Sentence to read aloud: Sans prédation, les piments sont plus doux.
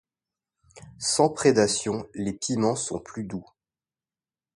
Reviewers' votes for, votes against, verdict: 2, 0, accepted